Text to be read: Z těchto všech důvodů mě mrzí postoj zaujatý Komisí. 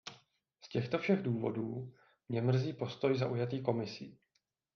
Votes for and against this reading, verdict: 2, 0, accepted